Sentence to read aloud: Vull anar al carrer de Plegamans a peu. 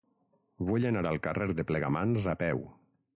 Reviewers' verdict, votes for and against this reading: accepted, 6, 0